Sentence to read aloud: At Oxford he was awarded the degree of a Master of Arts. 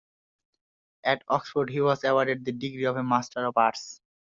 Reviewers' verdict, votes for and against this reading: accepted, 2, 0